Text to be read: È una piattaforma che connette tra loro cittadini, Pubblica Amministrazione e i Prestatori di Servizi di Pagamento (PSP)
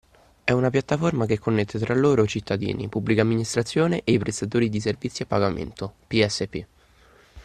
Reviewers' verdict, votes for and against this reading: accepted, 2, 0